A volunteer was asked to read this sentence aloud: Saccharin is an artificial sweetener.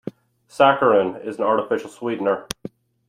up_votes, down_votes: 1, 2